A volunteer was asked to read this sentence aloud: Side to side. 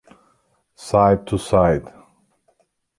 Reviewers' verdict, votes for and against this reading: accepted, 2, 1